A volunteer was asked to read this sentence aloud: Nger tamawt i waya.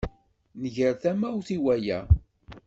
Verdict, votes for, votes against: accepted, 2, 0